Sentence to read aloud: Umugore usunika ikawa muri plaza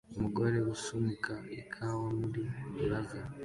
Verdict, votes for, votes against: accepted, 2, 0